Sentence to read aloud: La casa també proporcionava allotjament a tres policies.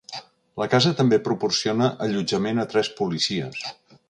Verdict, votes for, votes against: rejected, 1, 2